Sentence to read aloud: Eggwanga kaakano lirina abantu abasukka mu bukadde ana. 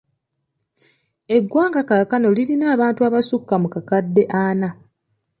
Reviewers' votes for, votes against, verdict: 1, 2, rejected